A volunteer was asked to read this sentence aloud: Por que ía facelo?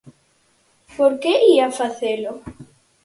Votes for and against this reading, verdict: 4, 0, accepted